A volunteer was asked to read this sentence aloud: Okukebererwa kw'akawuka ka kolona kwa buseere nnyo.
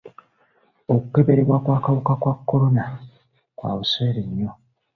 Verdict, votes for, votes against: accepted, 2, 0